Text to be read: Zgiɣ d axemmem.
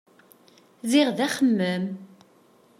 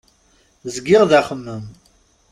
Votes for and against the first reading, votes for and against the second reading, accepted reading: 1, 2, 2, 0, second